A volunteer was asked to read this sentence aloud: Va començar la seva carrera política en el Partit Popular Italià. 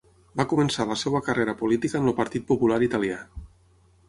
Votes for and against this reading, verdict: 3, 9, rejected